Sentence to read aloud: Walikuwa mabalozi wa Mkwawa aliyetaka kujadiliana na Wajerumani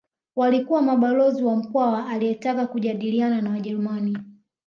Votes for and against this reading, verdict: 2, 0, accepted